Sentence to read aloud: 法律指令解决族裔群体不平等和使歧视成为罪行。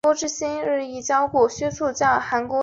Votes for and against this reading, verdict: 0, 2, rejected